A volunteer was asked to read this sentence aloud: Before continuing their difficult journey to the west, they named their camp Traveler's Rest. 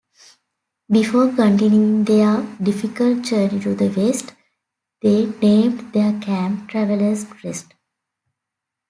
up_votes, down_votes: 0, 2